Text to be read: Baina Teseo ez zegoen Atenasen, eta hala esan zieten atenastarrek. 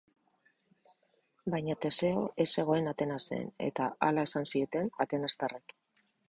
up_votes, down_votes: 4, 0